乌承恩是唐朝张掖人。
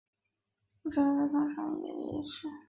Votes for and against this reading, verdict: 3, 5, rejected